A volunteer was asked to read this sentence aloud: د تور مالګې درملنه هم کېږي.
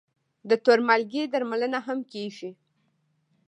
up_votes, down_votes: 1, 2